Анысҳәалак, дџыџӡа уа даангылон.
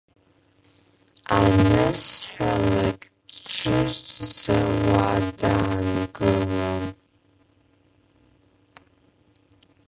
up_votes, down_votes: 0, 2